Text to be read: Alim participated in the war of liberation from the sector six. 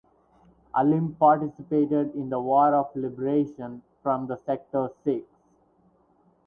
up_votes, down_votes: 4, 0